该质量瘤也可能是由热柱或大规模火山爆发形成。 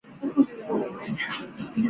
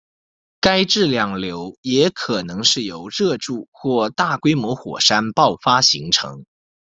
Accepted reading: second